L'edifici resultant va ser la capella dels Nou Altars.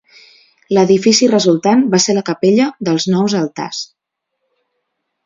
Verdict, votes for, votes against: accepted, 2, 1